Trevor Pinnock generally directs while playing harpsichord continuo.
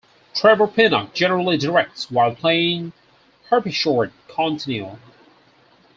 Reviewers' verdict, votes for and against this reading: rejected, 0, 4